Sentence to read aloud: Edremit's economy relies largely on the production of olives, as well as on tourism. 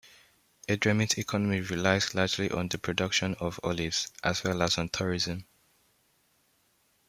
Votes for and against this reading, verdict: 2, 0, accepted